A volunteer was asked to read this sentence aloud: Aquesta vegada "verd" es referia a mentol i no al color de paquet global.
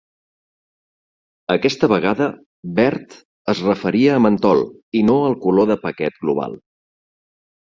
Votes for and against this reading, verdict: 3, 0, accepted